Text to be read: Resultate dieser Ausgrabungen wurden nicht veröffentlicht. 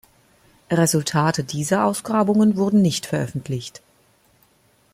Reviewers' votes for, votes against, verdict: 2, 0, accepted